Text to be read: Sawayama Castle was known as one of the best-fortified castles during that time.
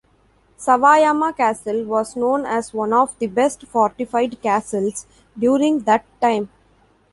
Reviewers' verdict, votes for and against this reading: accepted, 2, 1